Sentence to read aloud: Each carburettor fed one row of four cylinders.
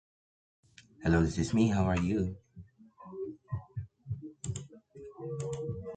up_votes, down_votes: 0, 2